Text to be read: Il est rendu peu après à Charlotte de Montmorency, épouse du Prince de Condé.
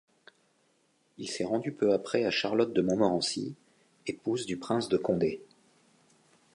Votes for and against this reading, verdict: 1, 2, rejected